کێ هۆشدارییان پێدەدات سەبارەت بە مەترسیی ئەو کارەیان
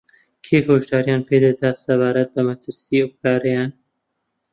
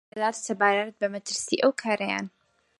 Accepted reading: first